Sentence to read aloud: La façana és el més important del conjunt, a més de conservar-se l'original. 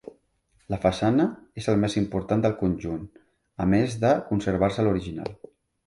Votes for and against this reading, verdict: 2, 0, accepted